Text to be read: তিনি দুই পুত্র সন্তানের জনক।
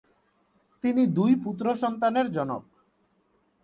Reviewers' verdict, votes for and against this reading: accepted, 5, 1